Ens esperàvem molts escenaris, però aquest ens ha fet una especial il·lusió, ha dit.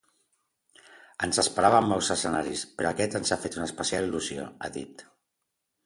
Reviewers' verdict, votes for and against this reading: accepted, 2, 0